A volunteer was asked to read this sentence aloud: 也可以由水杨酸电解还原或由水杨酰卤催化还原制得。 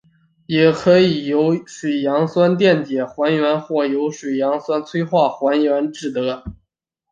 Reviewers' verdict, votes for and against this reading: accepted, 2, 1